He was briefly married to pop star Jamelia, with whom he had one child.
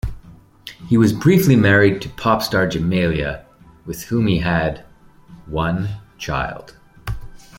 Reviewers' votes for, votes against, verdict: 2, 0, accepted